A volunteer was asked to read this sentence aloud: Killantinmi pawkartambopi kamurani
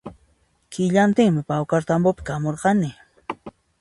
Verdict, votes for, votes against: rejected, 0, 2